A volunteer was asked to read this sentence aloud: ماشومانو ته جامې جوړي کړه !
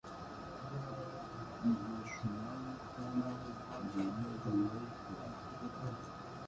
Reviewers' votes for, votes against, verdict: 0, 2, rejected